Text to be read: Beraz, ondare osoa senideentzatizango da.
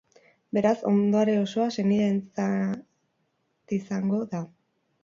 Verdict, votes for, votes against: rejected, 0, 4